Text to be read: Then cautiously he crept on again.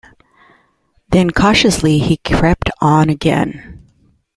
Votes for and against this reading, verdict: 2, 0, accepted